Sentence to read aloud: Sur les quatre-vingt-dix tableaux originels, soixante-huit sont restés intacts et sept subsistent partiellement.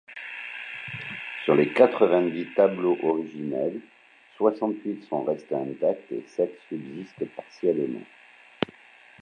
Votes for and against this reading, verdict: 0, 2, rejected